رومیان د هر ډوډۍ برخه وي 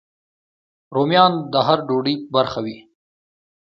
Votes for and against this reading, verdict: 2, 0, accepted